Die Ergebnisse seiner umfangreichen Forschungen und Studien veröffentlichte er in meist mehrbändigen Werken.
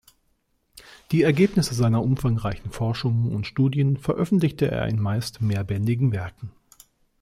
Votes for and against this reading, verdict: 2, 0, accepted